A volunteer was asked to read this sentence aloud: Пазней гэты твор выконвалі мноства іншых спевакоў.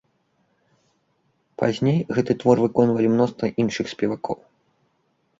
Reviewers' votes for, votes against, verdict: 2, 0, accepted